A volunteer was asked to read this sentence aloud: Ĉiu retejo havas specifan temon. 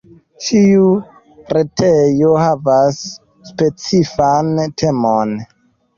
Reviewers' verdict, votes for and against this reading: accepted, 2, 1